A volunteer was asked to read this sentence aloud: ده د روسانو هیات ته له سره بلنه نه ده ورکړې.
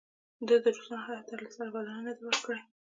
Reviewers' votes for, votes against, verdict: 1, 2, rejected